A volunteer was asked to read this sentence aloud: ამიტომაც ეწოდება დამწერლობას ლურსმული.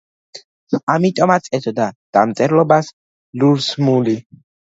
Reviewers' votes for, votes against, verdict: 1, 2, rejected